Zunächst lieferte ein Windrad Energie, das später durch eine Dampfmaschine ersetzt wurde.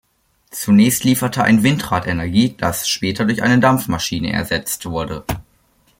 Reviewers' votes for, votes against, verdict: 2, 0, accepted